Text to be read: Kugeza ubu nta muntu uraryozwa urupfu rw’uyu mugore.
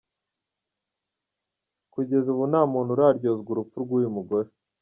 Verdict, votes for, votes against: rejected, 1, 2